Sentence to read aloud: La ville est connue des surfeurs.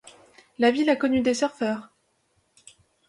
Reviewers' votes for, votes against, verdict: 1, 2, rejected